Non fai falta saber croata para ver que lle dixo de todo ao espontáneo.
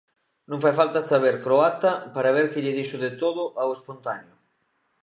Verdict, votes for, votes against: accepted, 2, 0